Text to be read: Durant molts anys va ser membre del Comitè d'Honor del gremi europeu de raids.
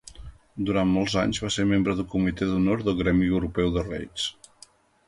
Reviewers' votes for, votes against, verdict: 1, 2, rejected